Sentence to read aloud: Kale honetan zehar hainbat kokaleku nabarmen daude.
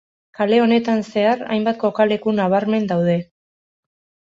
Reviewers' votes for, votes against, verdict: 2, 0, accepted